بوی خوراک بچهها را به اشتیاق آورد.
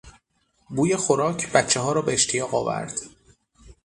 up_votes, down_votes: 6, 0